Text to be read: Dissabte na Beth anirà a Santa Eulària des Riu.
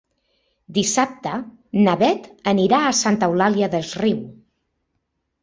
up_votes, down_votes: 0, 2